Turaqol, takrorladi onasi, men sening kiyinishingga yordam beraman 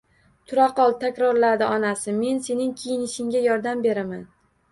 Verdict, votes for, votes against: rejected, 1, 2